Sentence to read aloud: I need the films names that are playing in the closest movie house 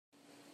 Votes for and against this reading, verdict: 0, 2, rejected